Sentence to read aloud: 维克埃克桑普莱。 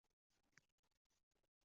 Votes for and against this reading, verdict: 0, 2, rejected